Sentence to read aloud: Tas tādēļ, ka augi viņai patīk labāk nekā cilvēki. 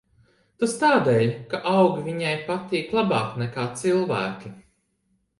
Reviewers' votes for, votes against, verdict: 2, 0, accepted